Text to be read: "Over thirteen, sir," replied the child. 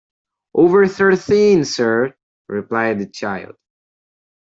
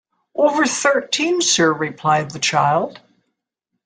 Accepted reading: second